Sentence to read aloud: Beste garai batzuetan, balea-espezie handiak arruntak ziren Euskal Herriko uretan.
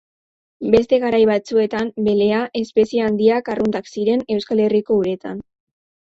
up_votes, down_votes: 2, 2